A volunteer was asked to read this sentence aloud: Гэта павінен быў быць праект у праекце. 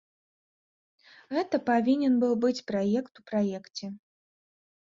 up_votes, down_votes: 2, 0